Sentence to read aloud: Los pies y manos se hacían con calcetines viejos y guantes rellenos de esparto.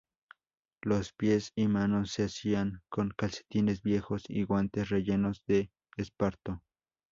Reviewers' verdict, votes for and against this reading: accepted, 2, 0